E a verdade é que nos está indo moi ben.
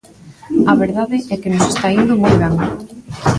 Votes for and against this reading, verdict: 0, 2, rejected